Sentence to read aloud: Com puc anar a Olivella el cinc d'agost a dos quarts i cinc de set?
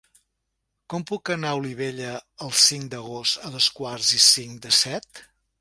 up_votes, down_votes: 2, 0